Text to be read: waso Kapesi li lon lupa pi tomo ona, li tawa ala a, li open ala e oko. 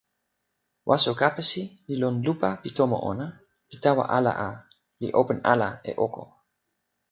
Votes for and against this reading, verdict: 2, 0, accepted